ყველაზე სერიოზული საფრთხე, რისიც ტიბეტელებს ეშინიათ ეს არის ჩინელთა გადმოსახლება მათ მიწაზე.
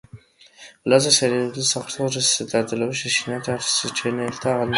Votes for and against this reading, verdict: 0, 2, rejected